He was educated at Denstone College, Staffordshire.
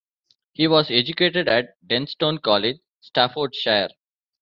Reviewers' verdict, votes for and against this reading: rejected, 1, 2